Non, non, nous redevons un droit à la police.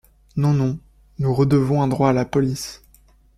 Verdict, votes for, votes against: accepted, 2, 0